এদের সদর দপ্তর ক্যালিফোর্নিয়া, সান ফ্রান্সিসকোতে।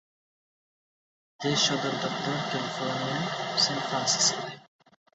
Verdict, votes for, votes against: rejected, 0, 2